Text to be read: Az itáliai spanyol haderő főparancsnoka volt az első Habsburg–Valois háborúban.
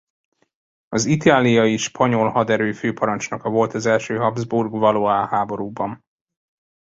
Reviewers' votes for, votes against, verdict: 2, 0, accepted